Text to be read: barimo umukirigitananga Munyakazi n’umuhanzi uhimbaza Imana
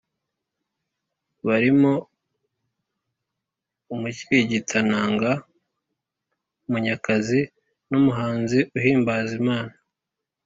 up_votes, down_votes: 3, 0